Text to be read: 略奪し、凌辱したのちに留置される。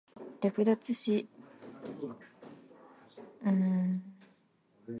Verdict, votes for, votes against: rejected, 0, 2